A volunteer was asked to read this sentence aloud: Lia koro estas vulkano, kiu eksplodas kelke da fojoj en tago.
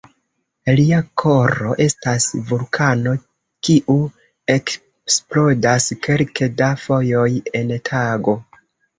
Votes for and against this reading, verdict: 0, 2, rejected